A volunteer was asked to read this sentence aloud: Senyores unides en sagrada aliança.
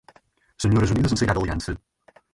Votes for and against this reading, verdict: 2, 4, rejected